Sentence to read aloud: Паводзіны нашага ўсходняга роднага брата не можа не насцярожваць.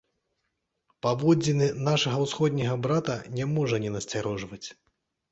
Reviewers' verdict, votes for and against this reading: rejected, 0, 2